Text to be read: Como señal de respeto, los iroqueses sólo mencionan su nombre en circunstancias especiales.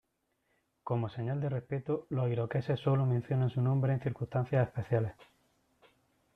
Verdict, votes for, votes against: accepted, 2, 0